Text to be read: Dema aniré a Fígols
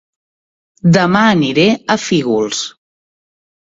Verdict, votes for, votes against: accepted, 2, 0